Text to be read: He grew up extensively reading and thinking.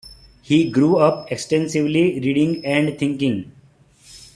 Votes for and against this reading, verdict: 2, 0, accepted